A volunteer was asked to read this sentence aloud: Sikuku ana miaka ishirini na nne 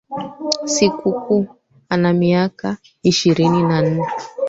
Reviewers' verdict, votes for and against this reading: rejected, 1, 2